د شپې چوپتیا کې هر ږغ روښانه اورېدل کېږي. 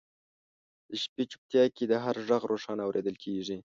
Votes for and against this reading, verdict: 0, 2, rejected